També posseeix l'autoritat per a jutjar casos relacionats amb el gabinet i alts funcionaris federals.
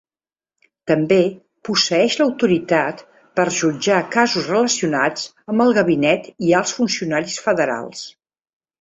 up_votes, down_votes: 1, 2